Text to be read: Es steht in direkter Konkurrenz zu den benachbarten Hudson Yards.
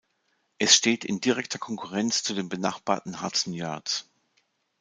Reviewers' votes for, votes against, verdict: 2, 0, accepted